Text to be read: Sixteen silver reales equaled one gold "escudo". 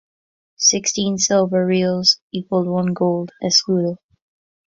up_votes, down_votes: 0, 2